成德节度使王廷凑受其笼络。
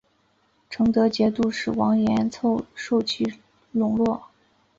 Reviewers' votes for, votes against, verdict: 2, 0, accepted